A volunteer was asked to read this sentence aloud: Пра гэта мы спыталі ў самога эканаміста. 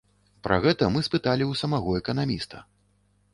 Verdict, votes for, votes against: rejected, 0, 2